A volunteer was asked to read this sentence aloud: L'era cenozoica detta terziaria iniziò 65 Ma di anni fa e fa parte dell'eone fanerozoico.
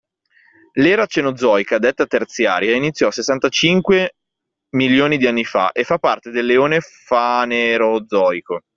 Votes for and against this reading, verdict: 0, 2, rejected